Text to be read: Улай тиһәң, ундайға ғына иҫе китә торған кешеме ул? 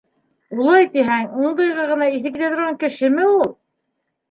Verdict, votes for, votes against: accepted, 3, 1